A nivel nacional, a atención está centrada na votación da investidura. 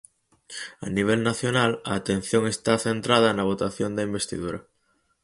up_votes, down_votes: 4, 0